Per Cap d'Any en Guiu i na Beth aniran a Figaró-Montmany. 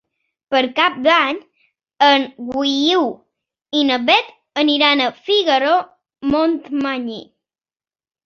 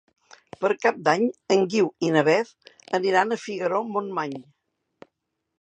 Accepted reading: second